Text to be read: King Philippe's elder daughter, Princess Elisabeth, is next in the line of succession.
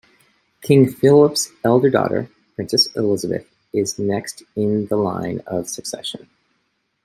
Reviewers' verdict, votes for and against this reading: rejected, 0, 2